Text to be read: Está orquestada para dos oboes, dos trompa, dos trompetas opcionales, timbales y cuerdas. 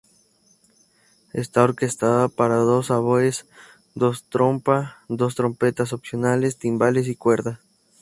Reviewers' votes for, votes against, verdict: 0, 2, rejected